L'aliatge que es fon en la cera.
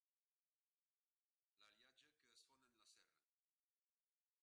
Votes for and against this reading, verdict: 0, 2, rejected